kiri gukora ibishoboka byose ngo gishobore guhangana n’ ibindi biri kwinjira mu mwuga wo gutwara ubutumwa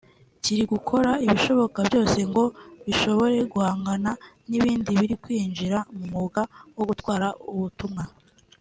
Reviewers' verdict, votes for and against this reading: accepted, 2, 0